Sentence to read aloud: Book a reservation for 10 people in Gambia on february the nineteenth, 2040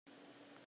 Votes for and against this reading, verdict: 0, 2, rejected